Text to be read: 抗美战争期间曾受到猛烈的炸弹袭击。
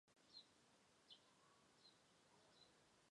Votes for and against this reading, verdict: 1, 6, rejected